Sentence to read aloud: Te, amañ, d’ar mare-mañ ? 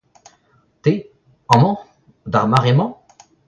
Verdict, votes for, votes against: accepted, 2, 0